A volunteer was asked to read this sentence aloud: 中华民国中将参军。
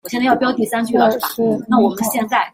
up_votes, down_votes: 0, 2